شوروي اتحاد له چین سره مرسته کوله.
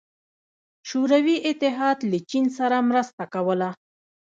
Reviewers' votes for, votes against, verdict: 0, 2, rejected